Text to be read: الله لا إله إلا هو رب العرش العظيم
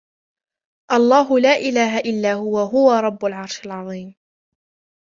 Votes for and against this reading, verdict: 1, 2, rejected